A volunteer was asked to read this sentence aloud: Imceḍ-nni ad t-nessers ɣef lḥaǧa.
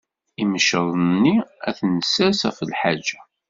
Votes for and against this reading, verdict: 2, 0, accepted